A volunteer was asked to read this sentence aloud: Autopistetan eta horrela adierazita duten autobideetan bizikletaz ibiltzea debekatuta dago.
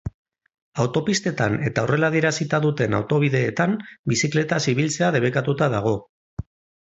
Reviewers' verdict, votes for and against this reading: accepted, 2, 0